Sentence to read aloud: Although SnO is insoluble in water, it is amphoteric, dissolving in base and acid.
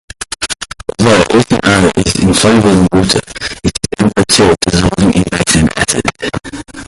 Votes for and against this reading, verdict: 0, 2, rejected